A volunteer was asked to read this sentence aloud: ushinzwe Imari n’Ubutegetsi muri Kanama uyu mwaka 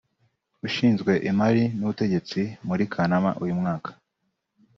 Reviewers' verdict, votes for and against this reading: rejected, 1, 2